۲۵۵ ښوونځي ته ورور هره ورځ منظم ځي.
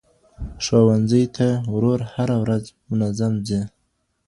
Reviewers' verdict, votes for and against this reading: rejected, 0, 2